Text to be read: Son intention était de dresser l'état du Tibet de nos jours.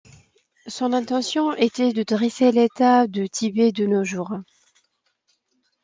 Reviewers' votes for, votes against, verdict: 0, 2, rejected